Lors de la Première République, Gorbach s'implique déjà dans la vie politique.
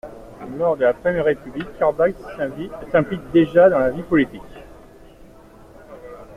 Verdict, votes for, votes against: rejected, 0, 2